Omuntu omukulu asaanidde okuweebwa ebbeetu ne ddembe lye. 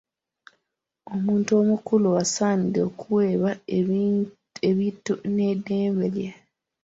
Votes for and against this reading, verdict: 0, 2, rejected